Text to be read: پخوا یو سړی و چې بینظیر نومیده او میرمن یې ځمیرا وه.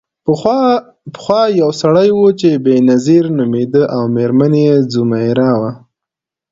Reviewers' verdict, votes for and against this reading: accepted, 2, 0